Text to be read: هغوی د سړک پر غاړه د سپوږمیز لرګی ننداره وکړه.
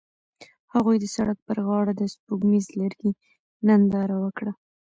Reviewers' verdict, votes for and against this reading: rejected, 1, 2